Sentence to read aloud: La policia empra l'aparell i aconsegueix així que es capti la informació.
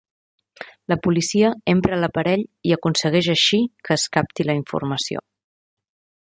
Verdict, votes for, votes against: accepted, 3, 0